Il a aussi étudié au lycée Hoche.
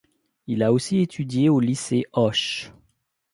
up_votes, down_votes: 2, 0